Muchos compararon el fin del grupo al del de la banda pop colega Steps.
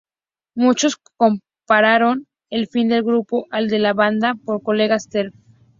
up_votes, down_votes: 2, 0